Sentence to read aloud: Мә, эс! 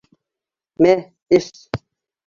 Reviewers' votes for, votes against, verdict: 2, 1, accepted